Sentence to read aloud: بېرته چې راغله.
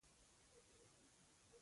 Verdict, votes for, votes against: rejected, 1, 2